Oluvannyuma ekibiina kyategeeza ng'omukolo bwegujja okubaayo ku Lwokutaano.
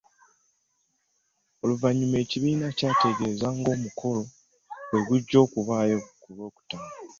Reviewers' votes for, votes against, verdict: 1, 2, rejected